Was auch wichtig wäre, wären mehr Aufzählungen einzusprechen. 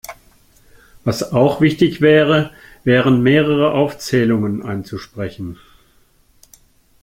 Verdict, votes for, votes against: rejected, 0, 2